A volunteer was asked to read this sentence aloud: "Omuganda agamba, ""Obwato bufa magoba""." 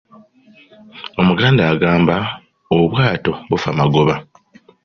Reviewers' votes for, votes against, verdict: 2, 0, accepted